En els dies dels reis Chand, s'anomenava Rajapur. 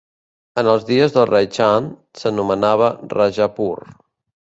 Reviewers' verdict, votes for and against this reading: rejected, 1, 2